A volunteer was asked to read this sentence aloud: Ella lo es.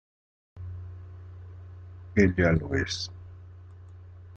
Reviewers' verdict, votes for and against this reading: rejected, 1, 2